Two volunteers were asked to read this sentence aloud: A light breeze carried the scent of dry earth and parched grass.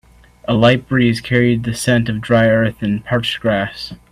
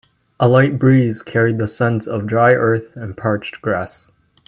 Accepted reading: first